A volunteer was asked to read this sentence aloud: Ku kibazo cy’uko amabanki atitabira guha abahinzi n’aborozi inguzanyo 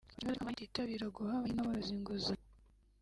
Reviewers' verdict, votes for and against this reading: rejected, 0, 2